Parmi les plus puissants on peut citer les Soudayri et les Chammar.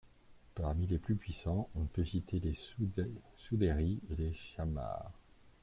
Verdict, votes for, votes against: rejected, 1, 2